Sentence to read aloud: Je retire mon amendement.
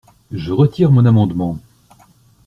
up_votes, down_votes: 2, 0